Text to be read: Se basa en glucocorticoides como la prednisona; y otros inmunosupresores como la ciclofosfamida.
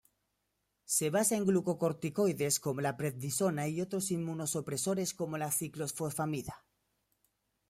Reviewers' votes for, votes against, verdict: 2, 0, accepted